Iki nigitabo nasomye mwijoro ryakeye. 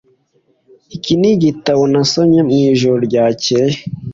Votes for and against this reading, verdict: 2, 0, accepted